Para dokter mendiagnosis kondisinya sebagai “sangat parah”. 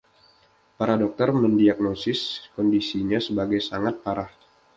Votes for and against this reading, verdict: 2, 0, accepted